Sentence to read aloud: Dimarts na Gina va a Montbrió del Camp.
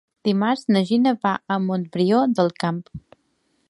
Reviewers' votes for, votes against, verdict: 2, 0, accepted